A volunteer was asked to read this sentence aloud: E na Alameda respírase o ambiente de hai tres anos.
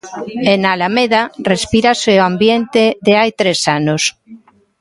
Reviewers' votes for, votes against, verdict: 1, 2, rejected